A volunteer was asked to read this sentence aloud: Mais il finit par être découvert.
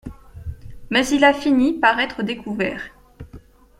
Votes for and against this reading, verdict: 1, 2, rejected